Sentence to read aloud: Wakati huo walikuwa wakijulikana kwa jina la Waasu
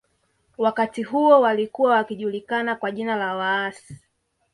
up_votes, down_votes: 1, 2